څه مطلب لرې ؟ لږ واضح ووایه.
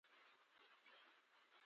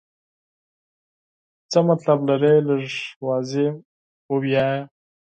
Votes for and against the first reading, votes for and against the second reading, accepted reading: 1, 2, 6, 0, second